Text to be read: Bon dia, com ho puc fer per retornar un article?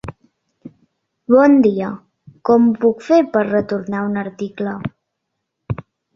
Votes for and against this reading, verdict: 3, 0, accepted